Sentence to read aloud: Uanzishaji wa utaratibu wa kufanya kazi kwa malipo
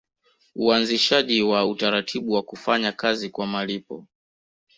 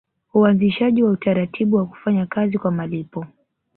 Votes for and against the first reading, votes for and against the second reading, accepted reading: 1, 2, 2, 1, second